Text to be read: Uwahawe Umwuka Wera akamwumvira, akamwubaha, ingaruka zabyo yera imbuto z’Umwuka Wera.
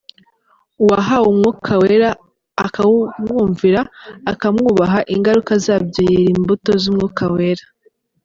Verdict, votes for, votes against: rejected, 1, 2